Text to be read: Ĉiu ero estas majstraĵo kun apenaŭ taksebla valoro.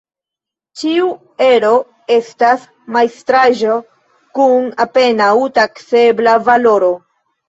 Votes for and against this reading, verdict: 0, 2, rejected